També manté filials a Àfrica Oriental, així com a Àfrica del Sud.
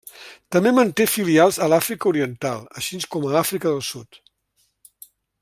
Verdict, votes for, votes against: accepted, 2, 0